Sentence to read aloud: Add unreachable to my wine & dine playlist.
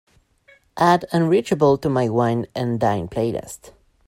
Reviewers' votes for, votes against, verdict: 2, 0, accepted